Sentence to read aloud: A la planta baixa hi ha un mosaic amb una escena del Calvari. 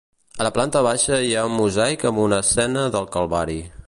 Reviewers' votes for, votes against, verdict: 2, 0, accepted